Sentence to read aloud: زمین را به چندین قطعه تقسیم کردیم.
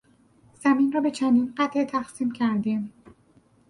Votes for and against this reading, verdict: 4, 0, accepted